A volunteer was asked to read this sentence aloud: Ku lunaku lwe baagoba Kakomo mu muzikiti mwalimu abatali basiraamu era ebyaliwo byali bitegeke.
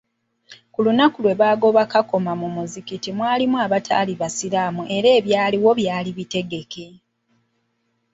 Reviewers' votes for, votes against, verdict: 1, 2, rejected